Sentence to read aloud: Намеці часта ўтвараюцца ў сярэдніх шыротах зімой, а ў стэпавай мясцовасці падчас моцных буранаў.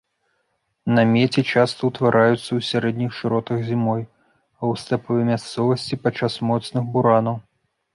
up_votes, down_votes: 1, 2